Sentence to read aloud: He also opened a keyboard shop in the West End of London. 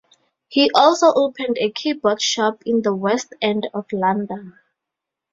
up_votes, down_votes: 2, 0